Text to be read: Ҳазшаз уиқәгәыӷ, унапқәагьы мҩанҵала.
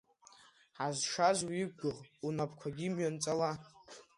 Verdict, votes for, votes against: accepted, 2, 0